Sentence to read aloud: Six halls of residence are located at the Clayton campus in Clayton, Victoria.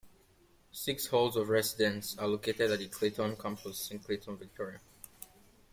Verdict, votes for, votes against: accepted, 2, 0